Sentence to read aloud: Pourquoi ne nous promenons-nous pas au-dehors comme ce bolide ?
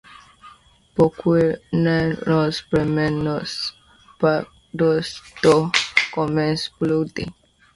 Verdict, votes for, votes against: accepted, 2, 1